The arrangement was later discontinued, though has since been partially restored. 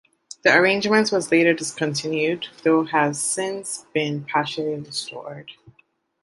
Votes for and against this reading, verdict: 2, 1, accepted